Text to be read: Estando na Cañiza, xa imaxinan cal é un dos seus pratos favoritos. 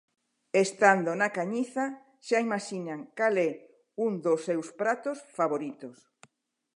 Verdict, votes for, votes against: accepted, 2, 0